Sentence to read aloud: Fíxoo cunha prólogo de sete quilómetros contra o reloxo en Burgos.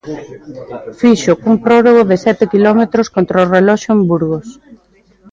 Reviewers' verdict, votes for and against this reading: rejected, 0, 2